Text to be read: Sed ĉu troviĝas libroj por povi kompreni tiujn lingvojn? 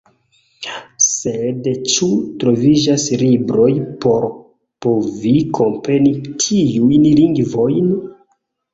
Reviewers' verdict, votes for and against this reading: accepted, 2, 1